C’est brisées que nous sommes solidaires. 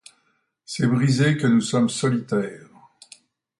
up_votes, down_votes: 0, 2